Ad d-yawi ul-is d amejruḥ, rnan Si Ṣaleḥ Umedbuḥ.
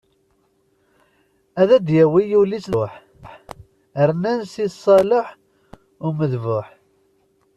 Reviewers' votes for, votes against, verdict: 1, 2, rejected